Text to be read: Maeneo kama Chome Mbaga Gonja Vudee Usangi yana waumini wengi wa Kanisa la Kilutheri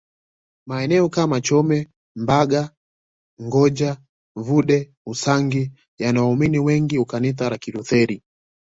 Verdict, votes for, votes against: accepted, 2, 1